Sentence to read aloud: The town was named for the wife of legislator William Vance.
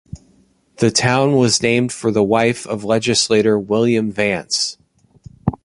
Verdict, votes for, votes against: accepted, 2, 0